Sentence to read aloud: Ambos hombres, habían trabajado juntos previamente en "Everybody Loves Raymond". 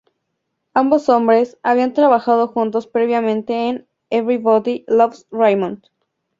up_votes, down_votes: 2, 0